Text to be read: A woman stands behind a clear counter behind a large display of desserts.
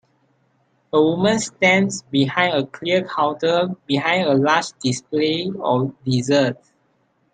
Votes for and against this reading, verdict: 3, 1, accepted